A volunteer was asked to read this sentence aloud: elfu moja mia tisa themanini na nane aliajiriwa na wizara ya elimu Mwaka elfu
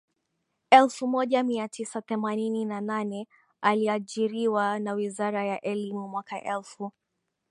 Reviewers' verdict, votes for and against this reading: accepted, 5, 4